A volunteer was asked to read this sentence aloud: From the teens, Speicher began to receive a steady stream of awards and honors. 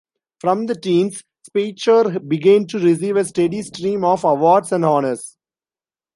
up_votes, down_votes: 2, 1